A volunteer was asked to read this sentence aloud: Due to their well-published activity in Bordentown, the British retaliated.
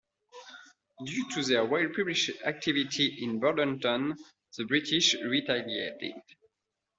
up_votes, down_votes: 2, 0